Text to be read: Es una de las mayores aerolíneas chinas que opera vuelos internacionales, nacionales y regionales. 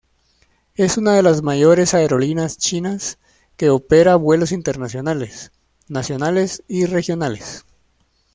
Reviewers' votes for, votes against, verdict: 1, 2, rejected